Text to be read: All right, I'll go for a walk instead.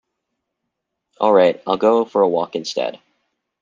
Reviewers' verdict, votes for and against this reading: accepted, 2, 0